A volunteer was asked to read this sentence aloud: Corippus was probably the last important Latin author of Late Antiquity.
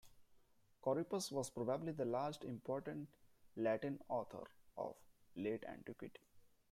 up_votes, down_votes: 3, 0